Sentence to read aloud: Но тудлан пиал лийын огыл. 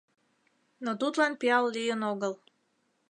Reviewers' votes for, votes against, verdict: 2, 0, accepted